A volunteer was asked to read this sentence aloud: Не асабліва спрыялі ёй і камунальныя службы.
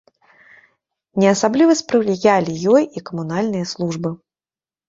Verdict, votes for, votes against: rejected, 1, 2